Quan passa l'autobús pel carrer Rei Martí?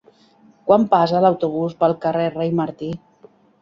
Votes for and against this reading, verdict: 3, 0, accepted